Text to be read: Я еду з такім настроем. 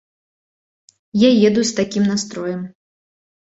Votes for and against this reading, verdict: 2, 0, accepted